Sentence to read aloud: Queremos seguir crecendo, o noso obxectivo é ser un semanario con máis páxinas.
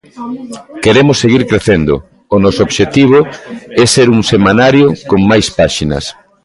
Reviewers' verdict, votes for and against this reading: rejected, 0, 2